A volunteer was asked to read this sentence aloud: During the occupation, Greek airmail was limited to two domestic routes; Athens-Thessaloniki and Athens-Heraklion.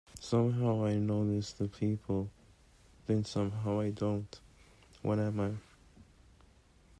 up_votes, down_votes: 0, 3